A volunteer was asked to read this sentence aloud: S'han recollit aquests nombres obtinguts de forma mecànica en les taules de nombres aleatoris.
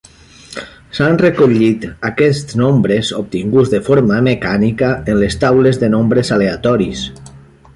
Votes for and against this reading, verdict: 3, 0, accepted